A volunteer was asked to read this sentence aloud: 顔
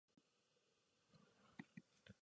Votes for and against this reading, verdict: 1, 2, rejected